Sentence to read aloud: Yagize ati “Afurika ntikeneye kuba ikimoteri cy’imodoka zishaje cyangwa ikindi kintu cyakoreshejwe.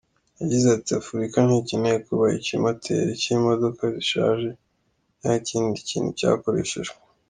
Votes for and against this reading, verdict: 2, 0, accepted